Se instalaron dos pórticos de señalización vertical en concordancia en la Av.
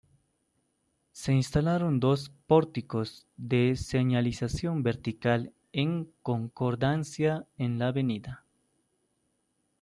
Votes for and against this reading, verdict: 2, 0, accepted